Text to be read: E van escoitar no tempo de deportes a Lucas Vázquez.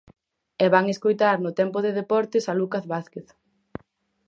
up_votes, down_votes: 0, 4